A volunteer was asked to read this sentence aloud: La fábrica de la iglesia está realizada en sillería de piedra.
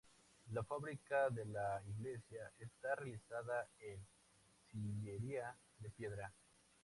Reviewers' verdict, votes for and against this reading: rejected, 2, 2